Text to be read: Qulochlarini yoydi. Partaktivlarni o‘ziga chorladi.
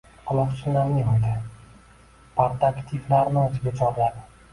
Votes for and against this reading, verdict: 1, 2, rejected